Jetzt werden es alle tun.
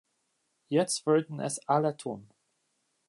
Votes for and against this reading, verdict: 1, 2, rejected